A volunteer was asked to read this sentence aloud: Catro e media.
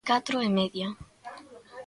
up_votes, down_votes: 2, 1